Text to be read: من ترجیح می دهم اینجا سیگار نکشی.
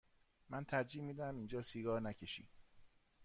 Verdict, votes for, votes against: accepted, 2, 0